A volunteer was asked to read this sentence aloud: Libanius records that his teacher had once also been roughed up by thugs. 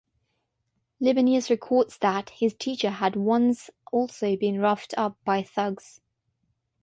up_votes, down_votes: 3, 0